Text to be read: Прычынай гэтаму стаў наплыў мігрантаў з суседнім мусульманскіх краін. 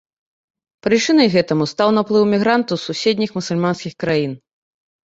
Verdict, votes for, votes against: rejected, 1, 2